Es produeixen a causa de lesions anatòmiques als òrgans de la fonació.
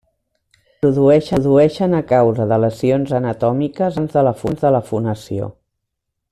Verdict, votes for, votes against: rejected, 0, 2